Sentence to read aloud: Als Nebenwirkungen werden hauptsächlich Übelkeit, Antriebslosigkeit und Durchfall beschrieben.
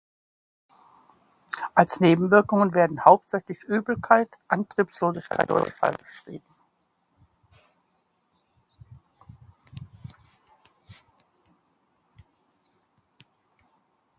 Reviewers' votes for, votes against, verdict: 1, 2, rejected